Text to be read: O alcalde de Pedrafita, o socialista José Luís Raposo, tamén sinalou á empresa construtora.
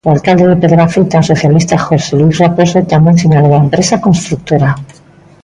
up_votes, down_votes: 2, 0